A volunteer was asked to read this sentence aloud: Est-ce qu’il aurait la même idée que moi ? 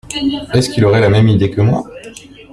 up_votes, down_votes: 2, 0